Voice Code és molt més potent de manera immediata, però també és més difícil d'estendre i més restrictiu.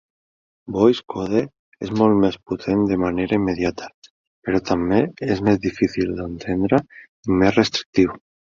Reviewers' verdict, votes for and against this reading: rejected, 0, 2